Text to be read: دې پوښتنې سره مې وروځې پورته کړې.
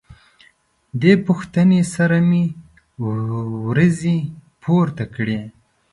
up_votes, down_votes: 2, 0